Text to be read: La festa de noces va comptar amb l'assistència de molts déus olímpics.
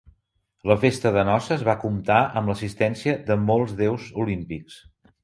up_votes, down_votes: 4, 0